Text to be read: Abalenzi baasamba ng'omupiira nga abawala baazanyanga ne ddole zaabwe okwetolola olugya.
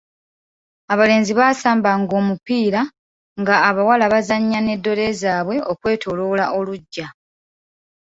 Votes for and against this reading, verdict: 2, 0, accepted